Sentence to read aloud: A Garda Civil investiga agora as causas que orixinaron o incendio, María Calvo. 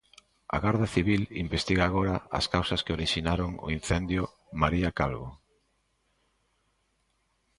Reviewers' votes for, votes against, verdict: 2, 0, accepted